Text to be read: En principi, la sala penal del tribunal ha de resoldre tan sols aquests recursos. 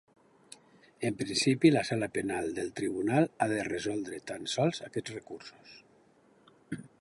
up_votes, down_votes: 2, 0